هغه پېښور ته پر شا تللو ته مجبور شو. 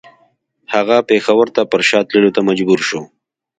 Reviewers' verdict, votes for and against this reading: accepted, 2, 0